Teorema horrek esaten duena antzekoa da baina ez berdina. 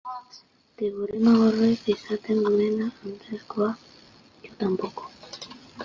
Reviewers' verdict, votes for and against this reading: rejected, 0, 2